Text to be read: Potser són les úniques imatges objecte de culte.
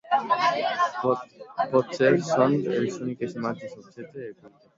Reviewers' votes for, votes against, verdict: 0, 2, rejected